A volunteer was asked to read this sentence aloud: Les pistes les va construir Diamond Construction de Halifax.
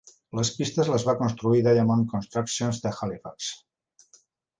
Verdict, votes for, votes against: rejected, 0, 2